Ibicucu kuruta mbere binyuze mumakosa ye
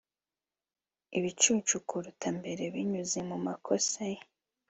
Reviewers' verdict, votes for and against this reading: accepted, 2, 0